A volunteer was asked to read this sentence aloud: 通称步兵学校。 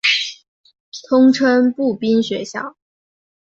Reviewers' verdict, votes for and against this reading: accepted, 4, 0